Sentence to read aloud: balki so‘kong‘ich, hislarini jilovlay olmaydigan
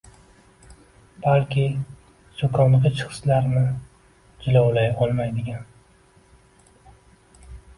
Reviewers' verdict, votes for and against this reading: accepted, 2, 1